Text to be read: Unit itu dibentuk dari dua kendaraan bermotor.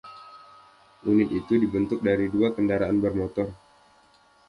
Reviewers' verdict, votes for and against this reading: accepted, 2, 0